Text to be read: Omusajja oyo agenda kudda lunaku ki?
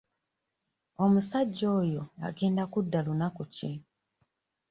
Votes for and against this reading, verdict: 0, 2, rejected